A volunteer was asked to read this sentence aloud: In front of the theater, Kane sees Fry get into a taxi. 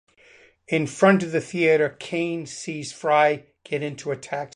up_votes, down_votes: 0, 2